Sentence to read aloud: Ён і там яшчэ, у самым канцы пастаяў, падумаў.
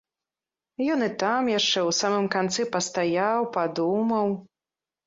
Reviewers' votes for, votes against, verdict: 2, 0, accepted